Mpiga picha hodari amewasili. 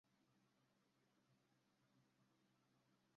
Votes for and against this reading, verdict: 0, 2, rejected